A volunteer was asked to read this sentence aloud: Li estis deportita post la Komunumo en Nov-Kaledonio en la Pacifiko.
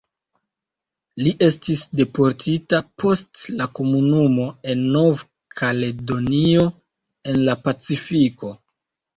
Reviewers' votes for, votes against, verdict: 2, 0, accepted